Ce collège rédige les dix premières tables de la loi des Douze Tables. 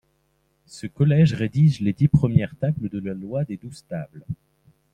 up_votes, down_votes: 2, 0